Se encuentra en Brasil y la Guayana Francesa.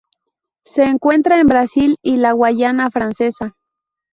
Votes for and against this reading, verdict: 2, 2, rejected